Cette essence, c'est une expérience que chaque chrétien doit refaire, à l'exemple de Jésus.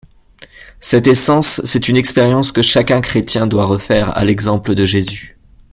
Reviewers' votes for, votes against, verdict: 1, 2, rejected